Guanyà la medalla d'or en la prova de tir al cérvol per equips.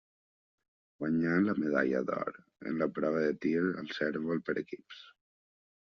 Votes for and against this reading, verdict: 2, 0, accepted